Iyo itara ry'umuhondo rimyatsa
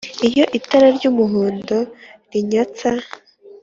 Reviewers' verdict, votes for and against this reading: accepted, 2, 1